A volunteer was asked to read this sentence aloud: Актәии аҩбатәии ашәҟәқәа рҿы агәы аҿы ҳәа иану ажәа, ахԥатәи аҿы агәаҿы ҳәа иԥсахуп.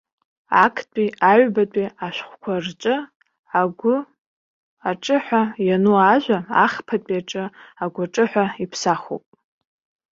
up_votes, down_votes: 0, 2